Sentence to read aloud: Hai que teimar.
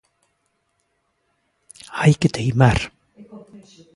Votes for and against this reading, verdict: 2, 0, accepted